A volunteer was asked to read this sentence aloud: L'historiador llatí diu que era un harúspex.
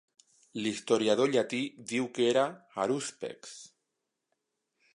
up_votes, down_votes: 0, 2